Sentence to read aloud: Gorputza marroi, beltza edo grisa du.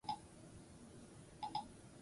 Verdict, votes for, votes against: rejected, 2, 8